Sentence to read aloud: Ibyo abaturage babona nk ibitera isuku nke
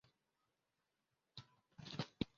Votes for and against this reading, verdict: 0, 2, rejected